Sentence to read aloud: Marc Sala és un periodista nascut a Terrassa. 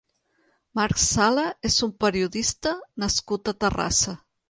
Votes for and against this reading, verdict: 3, 0, accepted